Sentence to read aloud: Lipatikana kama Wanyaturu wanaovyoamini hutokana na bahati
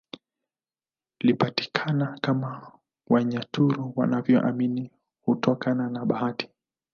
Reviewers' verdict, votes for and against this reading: accepted, 2, 0